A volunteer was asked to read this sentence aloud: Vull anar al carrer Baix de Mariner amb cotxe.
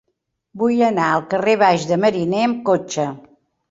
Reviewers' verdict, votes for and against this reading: accepted, 3, 0